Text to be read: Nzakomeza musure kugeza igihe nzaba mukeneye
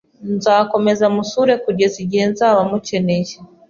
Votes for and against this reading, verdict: 2, 0, accepted